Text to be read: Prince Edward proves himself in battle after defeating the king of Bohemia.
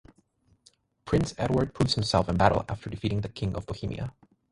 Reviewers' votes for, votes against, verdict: 6, 0, accepted